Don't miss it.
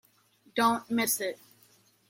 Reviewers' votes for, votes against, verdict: 1, 2, rejected